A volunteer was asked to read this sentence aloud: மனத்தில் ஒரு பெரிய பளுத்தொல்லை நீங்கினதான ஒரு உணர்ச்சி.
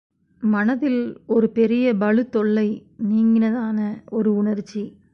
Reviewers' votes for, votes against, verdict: 1, 2, rejected